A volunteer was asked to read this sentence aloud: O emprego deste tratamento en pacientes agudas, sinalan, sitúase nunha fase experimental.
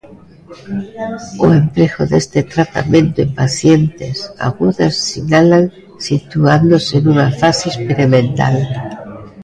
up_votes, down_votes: 0, 2